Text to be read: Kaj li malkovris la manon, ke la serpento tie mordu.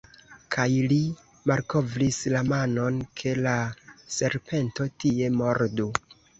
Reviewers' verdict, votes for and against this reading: rejected, 1, 2